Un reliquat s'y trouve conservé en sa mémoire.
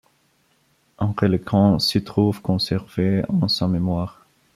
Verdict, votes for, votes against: rejected, 0, 2